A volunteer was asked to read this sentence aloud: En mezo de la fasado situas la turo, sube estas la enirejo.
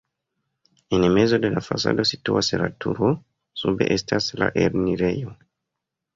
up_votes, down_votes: 2, 1